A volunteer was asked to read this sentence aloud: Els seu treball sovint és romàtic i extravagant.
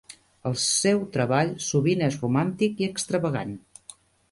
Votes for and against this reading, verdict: 1, 2, rejected